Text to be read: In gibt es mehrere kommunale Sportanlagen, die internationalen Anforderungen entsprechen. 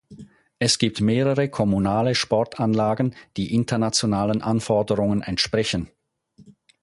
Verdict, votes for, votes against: rejected, 0, 4